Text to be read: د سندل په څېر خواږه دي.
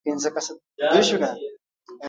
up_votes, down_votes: 1, 2